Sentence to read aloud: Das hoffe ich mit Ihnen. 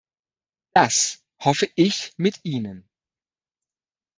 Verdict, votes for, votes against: rejected, 1, 2